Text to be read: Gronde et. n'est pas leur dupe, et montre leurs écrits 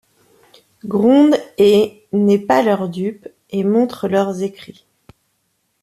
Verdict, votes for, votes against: accepted, 2, 0